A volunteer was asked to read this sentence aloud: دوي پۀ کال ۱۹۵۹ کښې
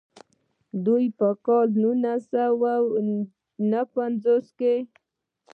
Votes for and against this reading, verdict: 0, 2, rejected